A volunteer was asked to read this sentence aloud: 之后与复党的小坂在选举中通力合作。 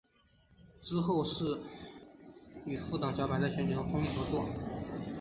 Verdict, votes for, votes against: rejected, 1, 2